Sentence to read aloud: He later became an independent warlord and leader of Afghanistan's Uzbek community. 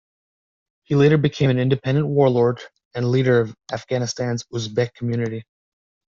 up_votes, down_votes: 2, 1